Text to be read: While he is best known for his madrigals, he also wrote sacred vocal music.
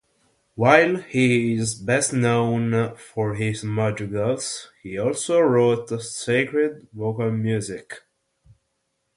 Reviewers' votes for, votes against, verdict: 3, 0, accepted